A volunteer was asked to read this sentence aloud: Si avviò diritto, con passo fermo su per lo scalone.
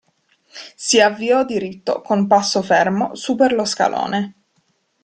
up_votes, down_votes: 2, 0